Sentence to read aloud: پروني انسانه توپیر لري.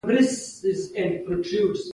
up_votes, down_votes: 0, 2